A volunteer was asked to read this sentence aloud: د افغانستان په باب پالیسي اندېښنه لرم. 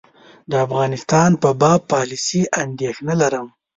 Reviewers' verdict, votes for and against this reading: accepted, 2, 1